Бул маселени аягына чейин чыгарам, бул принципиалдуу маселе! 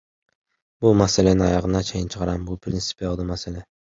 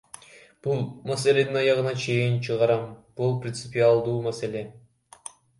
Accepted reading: first